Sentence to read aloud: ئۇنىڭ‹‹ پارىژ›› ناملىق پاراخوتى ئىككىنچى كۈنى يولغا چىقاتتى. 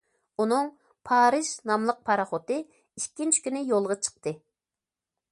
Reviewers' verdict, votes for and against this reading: rejected, 0, 2